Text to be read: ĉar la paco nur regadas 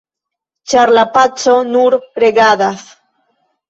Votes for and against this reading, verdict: 2, 1, accepted